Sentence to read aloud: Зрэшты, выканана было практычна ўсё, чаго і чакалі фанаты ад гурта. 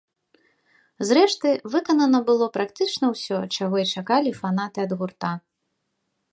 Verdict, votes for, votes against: accepted, 2, 0